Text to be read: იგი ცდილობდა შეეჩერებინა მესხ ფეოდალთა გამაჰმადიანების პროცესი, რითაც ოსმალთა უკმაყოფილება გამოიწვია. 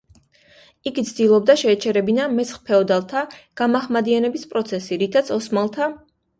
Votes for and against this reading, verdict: 0, 2, rejected